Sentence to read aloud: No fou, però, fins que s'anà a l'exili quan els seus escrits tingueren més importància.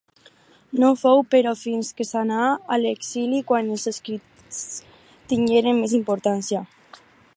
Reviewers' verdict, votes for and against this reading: rejected, 0, 4